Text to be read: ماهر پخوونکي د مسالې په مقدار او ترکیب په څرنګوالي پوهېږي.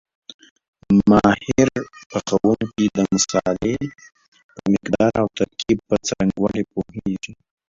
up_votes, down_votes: 0, 2